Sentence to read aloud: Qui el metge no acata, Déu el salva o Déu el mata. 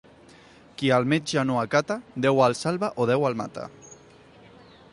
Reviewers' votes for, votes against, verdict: 2, 0, accepted